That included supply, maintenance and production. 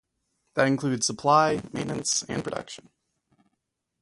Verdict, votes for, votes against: rejected, 0, 2